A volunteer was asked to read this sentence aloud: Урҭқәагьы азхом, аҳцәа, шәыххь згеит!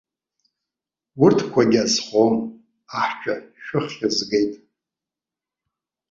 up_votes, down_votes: 2, 0